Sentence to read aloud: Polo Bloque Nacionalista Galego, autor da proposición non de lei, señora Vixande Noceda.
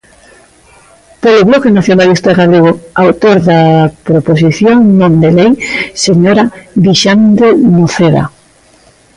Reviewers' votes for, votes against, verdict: 1, 2, rejected